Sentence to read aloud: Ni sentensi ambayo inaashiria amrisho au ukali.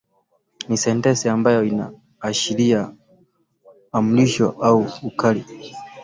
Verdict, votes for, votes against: accepted, 2, 0